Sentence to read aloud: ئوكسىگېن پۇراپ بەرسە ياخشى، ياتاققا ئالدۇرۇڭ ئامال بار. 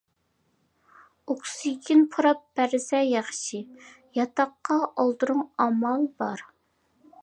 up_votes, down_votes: 2, 0